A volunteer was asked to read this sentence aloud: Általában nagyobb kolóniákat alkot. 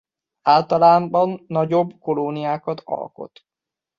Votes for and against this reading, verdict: 1, 2, rejected